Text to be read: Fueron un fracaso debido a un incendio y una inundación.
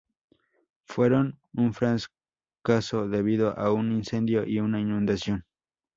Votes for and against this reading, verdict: 0, 2, rejected